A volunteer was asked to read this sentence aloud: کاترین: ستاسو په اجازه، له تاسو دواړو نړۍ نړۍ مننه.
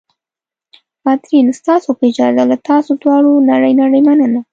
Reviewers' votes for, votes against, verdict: 2, 0, accepted